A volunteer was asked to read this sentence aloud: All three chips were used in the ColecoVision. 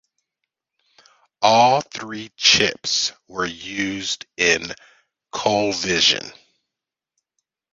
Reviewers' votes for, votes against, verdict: 0, 2, rejected